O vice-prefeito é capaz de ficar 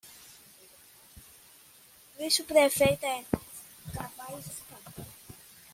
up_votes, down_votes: 0, 2